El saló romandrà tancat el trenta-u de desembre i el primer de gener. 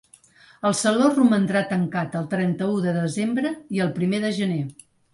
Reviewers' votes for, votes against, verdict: 3, 0, accepted